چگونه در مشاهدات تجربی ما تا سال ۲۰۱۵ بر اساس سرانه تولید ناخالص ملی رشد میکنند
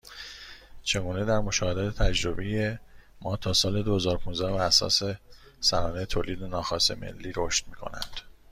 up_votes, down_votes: 0, 2